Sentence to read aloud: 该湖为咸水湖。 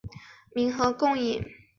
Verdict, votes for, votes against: rejected, 3, 5